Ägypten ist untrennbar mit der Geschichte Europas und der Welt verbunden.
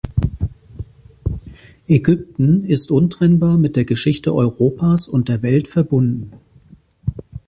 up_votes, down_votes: 2, 0